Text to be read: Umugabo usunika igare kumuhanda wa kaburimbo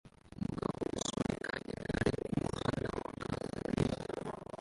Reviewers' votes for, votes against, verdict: 0, 2, rejected